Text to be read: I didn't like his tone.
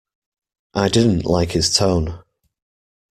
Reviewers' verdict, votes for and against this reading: accepted, 2, 0